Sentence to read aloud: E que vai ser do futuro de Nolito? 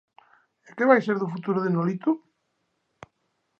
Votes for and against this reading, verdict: 2, 0, accepted